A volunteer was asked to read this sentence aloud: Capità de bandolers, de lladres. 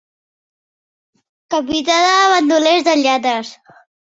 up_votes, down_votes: 2, 1